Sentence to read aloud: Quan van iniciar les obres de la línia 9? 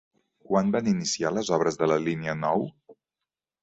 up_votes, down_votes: 0, 2